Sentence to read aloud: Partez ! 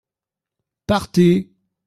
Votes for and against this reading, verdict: 2, 0, accepted